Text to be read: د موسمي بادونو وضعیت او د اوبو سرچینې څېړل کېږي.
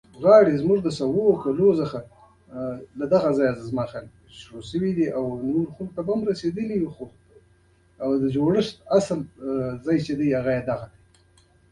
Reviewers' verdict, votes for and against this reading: rejected, 0, 2